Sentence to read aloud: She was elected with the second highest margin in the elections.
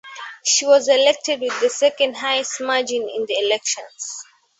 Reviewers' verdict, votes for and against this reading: accepted, 2, 0